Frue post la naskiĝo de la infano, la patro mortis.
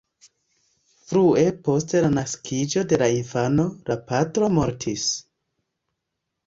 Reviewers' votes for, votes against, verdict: 2, 1, accepted